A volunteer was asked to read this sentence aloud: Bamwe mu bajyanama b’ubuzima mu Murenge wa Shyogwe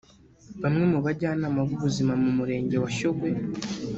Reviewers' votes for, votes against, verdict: 0, 2, rejected